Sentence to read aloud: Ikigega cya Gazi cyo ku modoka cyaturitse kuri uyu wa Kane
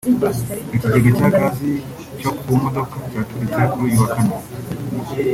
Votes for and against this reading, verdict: 4, 0, accepted